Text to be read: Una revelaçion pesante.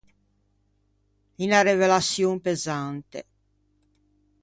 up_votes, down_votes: 1, 2